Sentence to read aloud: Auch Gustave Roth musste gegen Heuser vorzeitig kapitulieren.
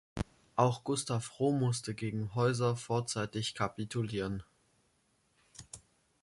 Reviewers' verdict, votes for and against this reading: rejected, 1, 2